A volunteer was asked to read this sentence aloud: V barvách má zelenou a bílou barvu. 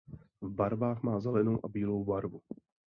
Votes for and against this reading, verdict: 2, 0, accepted